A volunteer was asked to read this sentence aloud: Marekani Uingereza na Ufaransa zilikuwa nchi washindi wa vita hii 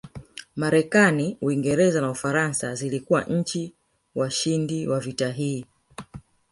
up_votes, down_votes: 2, 0